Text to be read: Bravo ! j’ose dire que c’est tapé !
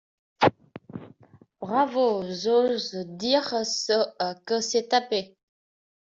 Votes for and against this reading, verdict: 0, 2, rejected